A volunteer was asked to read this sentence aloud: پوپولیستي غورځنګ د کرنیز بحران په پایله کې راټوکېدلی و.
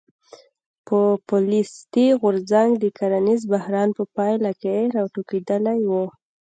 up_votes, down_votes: 2, 0